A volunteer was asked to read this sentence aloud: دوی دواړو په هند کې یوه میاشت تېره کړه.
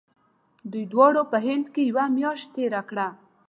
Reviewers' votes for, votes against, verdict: 2, 0, accepted